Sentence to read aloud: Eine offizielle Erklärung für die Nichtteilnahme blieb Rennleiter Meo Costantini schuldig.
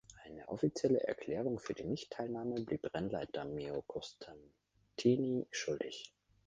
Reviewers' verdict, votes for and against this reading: rejected, 0, 2